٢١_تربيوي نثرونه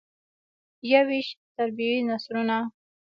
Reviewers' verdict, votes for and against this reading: rejected, 0, 2